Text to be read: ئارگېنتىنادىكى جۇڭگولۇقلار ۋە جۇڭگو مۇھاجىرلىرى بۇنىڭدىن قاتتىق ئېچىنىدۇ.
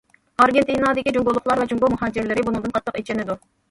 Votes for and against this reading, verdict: 1, 2, rejected